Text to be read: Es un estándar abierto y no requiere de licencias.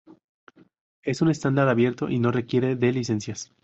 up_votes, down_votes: 4, 0